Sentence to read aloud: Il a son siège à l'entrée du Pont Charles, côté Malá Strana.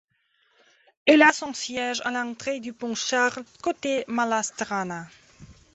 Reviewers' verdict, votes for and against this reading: accepted, 2, 0